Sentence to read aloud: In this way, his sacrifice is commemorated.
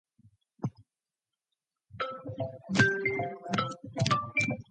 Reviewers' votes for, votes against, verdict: 0, 2, rejected